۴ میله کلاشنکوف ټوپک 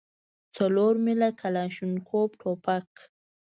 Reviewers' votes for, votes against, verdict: 0, 2, rejected